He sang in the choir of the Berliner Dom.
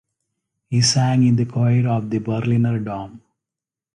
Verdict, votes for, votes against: accepted, 2, 0